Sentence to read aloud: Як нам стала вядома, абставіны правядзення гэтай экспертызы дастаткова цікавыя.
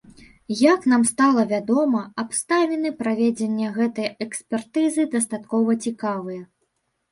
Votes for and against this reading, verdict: 1, 2, rejected